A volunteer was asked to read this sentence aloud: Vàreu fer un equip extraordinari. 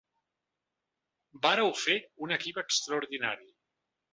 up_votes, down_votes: 2, 0